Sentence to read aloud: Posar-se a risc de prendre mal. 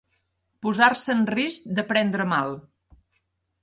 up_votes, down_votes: 1, 2